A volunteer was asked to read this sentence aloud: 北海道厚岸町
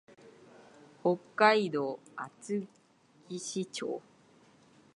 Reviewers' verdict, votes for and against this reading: rejected, 2, 2